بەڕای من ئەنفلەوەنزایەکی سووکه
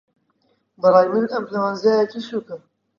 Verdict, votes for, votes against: accepted, 2, 0